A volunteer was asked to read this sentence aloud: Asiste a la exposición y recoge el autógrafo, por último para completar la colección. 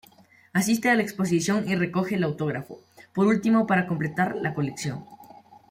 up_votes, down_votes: 3, 0